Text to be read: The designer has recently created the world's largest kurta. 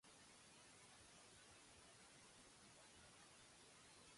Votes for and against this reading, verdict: 0, 2, rejected